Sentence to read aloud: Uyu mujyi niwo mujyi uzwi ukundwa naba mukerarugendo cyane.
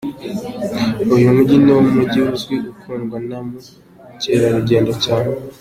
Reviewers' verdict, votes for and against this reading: accepted, 2, 1